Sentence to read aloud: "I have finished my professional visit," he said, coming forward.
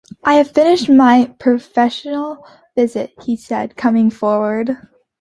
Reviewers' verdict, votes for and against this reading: accepted, 3, 0